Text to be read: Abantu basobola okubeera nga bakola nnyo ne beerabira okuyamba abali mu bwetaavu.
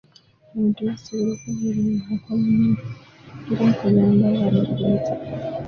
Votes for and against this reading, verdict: 0, 2, rejected